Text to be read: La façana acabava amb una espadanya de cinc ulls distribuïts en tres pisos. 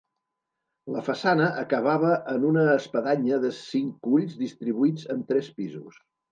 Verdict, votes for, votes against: rejected, 1, 2